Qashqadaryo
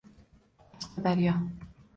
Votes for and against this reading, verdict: 0, 2, rejected